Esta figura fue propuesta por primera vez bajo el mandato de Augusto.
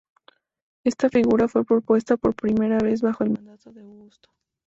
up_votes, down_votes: 0, 2